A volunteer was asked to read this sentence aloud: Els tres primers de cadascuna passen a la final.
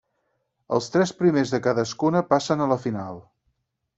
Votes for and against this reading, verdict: 6, 0, accepted